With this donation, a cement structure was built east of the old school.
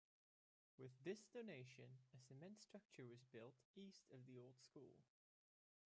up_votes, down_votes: 0, 2